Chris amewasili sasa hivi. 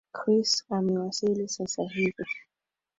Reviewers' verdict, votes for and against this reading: rejected, 1, 2